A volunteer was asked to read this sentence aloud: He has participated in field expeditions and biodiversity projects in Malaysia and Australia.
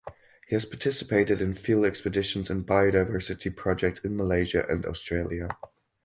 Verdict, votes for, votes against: rejected, 2, 2